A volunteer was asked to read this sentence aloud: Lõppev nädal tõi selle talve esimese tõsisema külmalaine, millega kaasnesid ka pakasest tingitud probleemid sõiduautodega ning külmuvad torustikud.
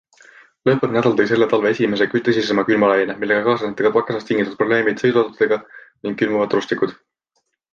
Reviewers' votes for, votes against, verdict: 0, 2, rejected